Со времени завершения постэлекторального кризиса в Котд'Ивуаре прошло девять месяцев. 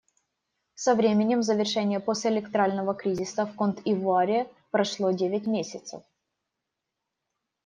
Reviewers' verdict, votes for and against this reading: rejected, 1, 2